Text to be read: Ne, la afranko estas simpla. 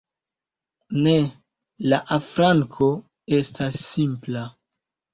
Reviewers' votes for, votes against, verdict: 2, 0, accepted